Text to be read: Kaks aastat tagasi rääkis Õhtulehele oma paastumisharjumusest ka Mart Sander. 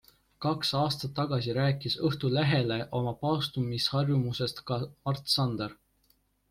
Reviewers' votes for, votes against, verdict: 2, 0, accepted